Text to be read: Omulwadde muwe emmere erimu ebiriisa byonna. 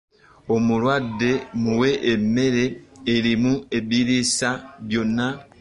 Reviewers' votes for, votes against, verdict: 1, 2, rejected